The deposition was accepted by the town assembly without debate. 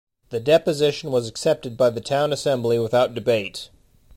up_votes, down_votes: 2, 1